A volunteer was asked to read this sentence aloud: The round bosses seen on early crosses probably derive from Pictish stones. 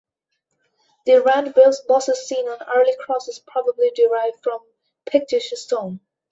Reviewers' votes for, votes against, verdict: 0, 2, rejected